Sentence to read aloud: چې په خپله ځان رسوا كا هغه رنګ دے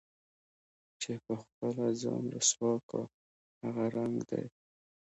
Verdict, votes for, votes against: accepted, 2, 0